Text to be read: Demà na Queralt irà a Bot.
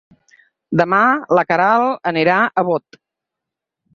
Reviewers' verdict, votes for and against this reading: rejected, 0, 4